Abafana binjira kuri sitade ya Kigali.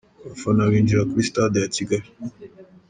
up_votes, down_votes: 0, 2